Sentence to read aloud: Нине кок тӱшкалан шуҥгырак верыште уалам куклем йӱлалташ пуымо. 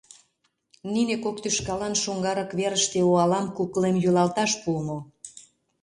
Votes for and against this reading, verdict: 0, 2, rejected